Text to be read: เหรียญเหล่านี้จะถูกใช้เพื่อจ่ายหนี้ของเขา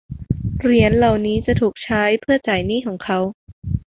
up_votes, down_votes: 2, 1